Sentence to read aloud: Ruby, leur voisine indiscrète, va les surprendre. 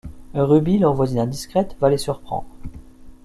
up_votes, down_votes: 2, 0